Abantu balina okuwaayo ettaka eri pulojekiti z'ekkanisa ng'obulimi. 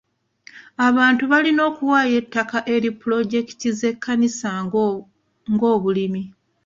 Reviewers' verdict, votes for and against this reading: rejected, 1, 2